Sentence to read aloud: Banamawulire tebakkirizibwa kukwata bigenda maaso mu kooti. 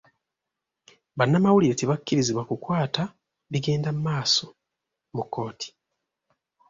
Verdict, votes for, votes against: accepted, 2, 1